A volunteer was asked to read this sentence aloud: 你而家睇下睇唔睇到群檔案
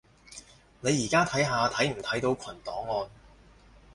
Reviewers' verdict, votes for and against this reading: accepted, 4, 0